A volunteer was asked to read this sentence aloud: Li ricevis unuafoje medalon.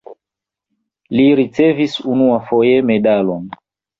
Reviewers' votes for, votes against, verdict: 2, 0, accepted